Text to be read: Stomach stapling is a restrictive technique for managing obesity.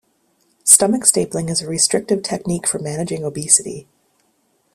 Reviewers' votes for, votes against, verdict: 2, 0, accepted